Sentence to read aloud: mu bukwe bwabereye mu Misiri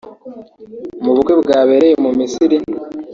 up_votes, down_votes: 1, 2